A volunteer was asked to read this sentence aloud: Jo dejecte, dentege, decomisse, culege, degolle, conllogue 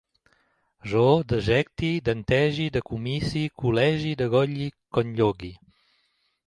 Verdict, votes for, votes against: rejected, 1, 2